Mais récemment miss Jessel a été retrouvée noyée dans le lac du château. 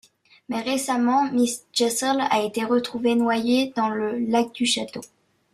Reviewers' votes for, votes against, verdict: 1, 2, rejected